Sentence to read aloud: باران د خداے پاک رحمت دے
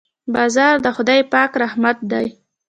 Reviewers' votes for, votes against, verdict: 0, 2, rejected